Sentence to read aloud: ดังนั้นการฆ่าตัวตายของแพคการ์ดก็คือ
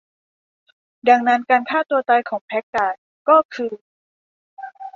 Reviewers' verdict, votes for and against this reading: accepted, 2, 0